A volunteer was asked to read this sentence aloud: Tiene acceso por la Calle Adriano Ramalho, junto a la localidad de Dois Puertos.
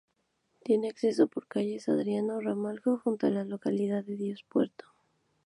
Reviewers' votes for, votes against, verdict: 0, 2, rejected